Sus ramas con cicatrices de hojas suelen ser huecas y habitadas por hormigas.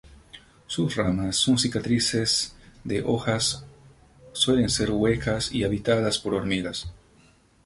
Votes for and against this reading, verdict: 0, 2, rejected